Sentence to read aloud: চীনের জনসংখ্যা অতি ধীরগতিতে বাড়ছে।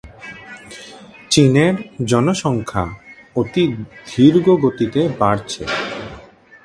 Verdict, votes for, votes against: rejected, 1, 2